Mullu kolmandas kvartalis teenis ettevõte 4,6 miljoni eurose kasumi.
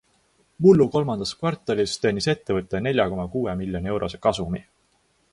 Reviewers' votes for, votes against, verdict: 0, 2, rejected